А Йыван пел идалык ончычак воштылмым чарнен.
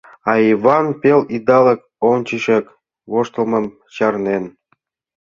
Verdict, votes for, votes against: accepted, 2, 0